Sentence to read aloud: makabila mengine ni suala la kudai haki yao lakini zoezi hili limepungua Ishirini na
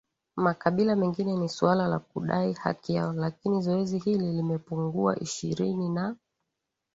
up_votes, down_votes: 2, 0